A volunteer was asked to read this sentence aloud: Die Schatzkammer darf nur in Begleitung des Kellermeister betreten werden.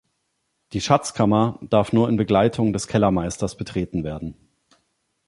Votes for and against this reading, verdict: 1, 2, rejected